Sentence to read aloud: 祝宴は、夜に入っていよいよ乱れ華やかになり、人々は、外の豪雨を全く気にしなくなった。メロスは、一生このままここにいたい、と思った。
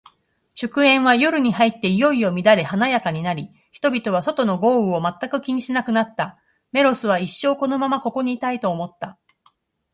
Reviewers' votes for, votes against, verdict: 6, 1, accepted